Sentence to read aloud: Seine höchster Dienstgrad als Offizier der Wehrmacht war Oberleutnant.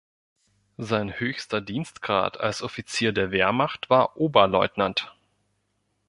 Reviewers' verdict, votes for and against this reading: rejected, 1, 2